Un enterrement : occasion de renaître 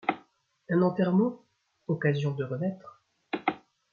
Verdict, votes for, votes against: rejected, 1, 2